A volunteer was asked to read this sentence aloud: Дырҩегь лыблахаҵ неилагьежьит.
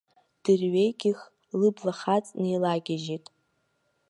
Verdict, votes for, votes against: rejected, 1, 2